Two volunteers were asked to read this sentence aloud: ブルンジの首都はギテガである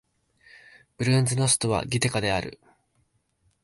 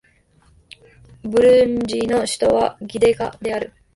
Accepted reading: first